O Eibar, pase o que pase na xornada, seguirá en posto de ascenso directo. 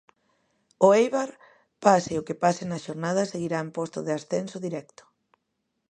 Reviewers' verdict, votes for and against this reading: accepted, 2, 0